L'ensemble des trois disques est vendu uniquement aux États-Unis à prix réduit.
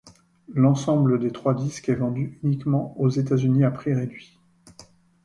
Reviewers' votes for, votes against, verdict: 2, 0, accepted